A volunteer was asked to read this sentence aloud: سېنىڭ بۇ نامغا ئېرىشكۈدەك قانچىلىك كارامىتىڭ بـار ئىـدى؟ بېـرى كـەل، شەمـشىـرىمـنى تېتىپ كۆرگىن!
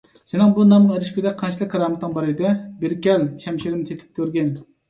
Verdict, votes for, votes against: rejected, 1, 2